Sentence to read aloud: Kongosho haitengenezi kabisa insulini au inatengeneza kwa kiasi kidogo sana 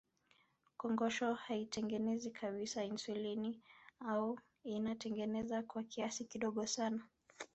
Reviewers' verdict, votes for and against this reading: rejected, 1, 2